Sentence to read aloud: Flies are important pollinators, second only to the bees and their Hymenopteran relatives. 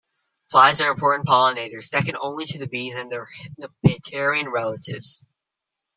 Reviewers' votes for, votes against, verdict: 0, 2, rejected